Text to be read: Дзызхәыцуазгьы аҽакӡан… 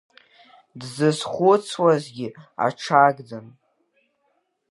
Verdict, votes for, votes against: rejected, 0, 3